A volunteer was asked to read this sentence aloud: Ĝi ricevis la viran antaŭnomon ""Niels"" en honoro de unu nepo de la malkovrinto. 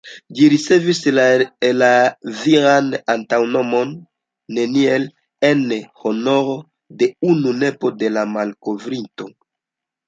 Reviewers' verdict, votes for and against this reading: rejected, 0, 2